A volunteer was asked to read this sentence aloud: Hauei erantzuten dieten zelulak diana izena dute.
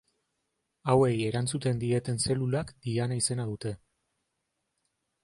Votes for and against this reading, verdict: 2, 0, accepted